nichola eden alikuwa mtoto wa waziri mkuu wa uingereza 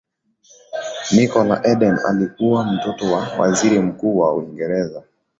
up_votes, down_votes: 2, 0